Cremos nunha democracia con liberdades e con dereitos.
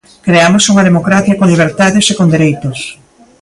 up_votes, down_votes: 0, 2